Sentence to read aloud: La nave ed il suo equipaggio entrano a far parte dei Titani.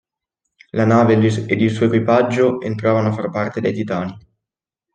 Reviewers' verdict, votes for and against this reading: rejected, 0, 2